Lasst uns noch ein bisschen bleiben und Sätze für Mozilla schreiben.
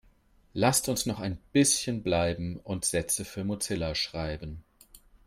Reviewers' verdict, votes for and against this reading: accepted, 3, 0